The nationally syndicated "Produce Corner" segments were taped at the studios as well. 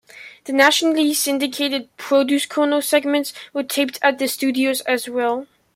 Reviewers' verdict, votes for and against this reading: rejected, 1, 2